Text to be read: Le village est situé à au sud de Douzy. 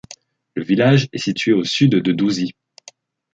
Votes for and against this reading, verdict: 1, 2, rejected